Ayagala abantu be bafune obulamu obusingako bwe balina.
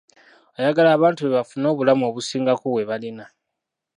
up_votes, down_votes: 2, 0